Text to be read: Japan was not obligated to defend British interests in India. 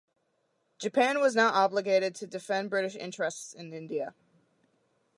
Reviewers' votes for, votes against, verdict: 2, 0, accepted